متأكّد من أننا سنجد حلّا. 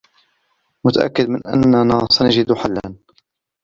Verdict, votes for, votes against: rejected, 0, 2